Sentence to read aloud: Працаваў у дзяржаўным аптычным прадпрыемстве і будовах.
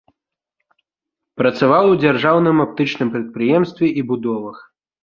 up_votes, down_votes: 2, 0